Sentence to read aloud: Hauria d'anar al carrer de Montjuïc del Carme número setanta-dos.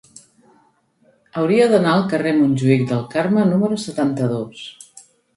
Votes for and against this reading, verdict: 1, 2, rejected